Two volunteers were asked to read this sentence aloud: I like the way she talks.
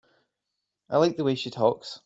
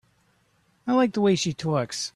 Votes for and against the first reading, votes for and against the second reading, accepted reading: 2, 0, 1, 3, first